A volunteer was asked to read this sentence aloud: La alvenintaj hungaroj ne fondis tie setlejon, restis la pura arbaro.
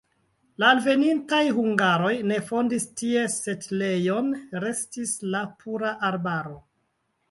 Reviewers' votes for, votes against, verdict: 2, 1, accepted